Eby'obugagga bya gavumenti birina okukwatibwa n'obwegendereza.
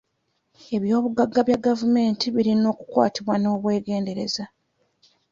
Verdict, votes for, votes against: accepted, 2, 1